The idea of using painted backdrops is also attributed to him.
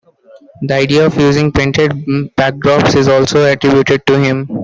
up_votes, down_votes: 0, 2